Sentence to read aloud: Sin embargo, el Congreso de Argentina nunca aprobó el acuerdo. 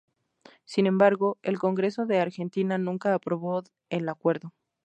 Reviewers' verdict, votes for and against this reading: accepted, 2, 0